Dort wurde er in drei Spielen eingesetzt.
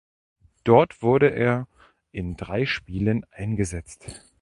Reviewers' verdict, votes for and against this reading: accepted, 2, 0